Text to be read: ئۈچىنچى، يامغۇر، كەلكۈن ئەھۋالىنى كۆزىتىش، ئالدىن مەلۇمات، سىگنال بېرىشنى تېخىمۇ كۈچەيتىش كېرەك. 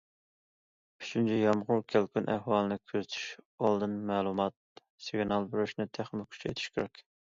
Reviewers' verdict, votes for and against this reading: accepted, 2, 0